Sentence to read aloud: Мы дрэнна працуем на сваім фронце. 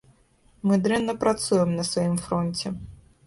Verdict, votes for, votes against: accepted, 2, 0